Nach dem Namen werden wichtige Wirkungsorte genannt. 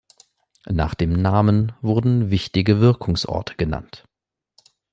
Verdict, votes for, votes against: rejected, 1, 2